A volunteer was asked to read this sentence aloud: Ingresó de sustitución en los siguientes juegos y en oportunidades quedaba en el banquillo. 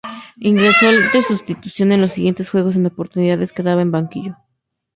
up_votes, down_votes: 0, 2